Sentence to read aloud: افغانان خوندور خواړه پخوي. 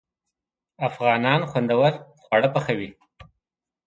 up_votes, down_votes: 2, 0